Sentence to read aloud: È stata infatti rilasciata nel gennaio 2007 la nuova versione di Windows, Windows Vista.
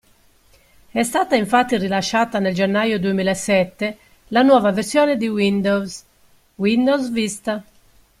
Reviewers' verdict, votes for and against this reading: rejected, 0, 2